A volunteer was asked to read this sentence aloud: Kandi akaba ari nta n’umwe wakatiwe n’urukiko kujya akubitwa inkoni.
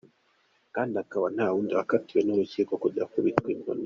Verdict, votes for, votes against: rejected, 1, 2